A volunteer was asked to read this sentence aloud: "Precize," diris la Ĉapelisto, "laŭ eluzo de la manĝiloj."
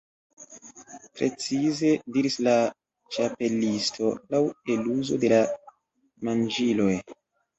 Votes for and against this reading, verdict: 2, 0, accepted